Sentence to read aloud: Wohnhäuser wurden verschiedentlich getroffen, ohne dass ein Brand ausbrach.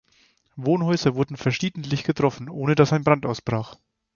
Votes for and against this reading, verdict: 4, 0, accepted